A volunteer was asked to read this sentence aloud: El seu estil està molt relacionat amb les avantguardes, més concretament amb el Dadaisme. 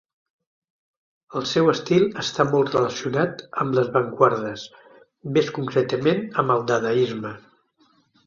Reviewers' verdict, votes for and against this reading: rejected, 0, 2